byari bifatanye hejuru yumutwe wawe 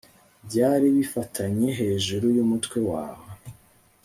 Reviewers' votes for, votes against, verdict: 2, 0, accepted